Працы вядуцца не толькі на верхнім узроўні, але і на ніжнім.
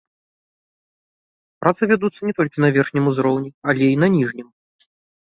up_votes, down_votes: 2, 0